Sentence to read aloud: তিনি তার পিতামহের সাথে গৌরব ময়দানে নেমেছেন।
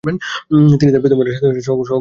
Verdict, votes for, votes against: rejected, 0, 2